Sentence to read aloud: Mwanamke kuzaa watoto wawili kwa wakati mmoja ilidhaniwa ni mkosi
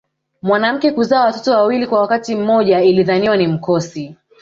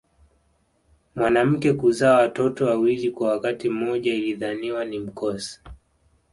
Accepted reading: second